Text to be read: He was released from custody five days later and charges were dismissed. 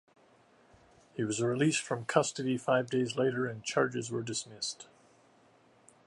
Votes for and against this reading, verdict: 2, 0, accepted